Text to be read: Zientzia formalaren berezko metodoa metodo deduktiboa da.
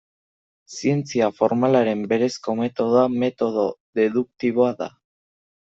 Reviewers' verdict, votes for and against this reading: accepted, 2, 0